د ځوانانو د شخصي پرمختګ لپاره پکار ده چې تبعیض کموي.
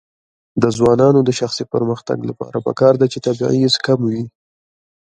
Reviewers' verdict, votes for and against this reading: rejected, 0, 2